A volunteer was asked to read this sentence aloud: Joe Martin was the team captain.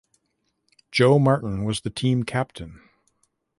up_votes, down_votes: 2, 0